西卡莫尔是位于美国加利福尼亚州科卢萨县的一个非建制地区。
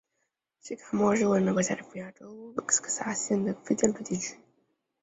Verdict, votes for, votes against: rejected, 1, 2